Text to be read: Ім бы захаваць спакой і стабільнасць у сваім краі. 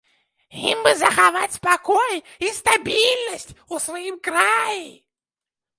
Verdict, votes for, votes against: rejected, 0, 2